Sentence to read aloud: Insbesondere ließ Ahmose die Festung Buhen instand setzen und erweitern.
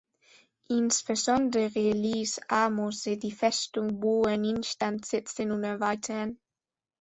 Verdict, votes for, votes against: accepted, 2, 0